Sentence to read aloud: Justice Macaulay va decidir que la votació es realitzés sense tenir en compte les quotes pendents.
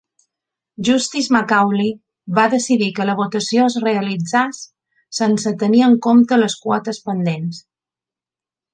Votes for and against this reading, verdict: 1, 2, rejected